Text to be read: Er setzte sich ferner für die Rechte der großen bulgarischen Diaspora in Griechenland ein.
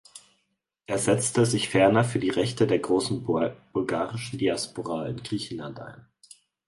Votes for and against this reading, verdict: 2, 4, rejected